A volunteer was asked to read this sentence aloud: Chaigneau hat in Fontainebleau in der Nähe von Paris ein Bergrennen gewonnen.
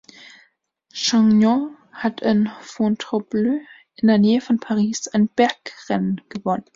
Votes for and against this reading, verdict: 3, 2, accepted